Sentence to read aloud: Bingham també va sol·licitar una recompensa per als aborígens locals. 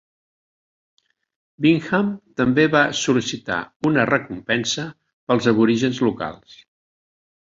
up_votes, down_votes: 2, 0